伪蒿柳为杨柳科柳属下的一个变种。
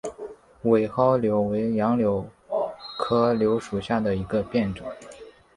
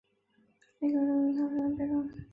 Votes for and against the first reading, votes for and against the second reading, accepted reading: 4, 0, 1, 2, first